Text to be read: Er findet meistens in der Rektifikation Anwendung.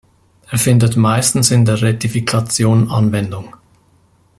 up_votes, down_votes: 0, 2